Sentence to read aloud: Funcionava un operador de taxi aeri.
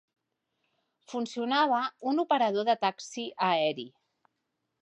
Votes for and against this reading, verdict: 2, 0, accepted